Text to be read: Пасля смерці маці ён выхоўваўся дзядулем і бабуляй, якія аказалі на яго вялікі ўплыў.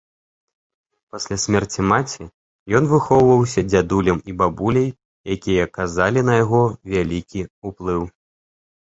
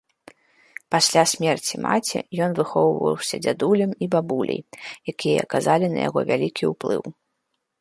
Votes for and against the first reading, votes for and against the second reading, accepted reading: 1, 2, 2, 0, second